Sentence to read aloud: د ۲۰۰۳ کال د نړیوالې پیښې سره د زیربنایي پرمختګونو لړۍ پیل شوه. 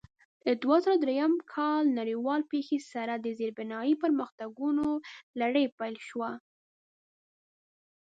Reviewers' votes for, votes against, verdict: 0, 2, rejected